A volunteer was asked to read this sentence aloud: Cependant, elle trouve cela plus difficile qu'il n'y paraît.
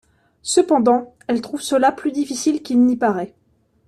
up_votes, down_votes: 2, 0